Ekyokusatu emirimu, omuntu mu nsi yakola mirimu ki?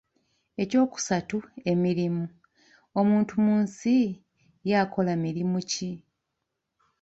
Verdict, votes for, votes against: rejected, 1, 2